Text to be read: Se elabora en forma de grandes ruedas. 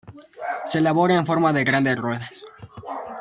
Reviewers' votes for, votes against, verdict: 2, 0, accepted